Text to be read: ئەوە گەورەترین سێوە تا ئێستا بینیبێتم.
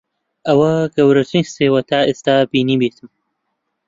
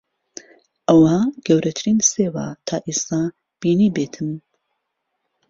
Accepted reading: second